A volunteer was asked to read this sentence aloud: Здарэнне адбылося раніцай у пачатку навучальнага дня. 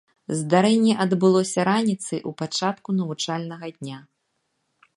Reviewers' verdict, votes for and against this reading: accepted, 2, 0